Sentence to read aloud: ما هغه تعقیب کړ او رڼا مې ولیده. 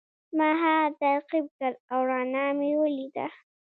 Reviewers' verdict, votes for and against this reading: rejected, 0, 2